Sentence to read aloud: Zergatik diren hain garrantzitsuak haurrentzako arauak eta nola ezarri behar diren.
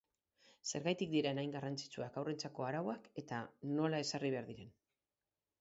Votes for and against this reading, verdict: 2, 0, accepted